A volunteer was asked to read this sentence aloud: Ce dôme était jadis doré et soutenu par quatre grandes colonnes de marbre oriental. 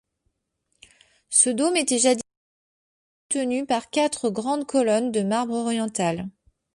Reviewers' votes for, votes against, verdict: 0, 2, rejected